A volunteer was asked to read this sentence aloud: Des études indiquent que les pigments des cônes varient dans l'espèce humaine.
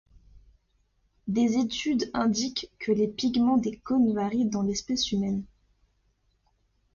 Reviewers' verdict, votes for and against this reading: accepted, 2, 0